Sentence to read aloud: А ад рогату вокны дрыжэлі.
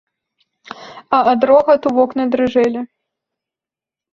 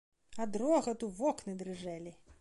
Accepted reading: first